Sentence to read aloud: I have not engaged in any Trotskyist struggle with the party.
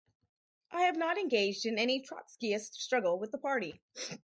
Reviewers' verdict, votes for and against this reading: accepted, 4, 0